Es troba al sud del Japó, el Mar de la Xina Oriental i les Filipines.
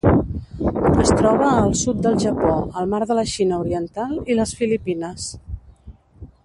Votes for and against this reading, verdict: 0, 2, rejected